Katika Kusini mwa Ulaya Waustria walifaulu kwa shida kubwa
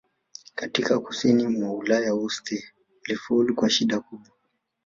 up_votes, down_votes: 0, 2